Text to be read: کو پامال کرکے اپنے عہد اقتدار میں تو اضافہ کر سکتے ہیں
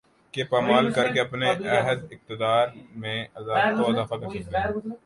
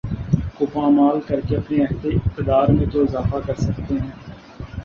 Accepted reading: second